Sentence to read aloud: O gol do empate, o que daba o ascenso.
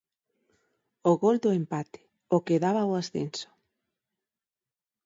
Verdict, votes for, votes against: accepted, 4, 0